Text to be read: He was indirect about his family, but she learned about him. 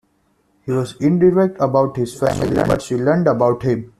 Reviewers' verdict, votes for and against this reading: rejected, 0, 2